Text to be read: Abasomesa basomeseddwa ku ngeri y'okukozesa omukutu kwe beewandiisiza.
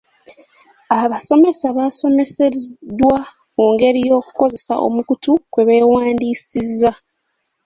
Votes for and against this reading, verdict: 1, 2, rejected